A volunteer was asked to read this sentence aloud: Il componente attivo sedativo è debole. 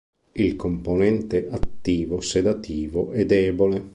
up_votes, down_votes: 3, 0